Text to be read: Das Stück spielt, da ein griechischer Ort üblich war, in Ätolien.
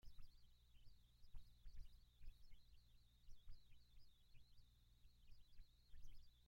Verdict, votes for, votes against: rejected, 0, 3